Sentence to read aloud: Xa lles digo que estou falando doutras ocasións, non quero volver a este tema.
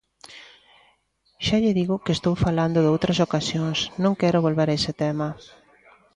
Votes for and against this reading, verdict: 1, 2, rejected